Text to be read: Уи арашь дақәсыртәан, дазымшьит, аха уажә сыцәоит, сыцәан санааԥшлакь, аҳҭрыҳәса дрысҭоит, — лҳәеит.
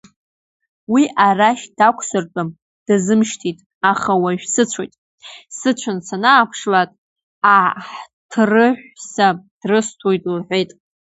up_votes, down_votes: 2, 0